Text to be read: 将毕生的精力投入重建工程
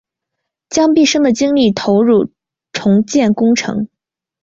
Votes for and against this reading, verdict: 3, 0, accepted